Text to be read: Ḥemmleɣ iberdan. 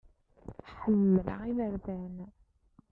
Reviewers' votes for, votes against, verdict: 0, 2, rejected